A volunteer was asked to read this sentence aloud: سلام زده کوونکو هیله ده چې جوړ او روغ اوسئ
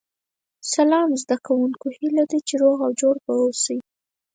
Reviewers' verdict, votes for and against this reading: rejected, 2, 4